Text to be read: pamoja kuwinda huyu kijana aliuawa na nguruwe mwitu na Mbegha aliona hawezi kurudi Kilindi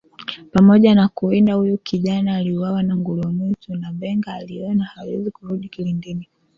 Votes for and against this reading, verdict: 0, 2, rejected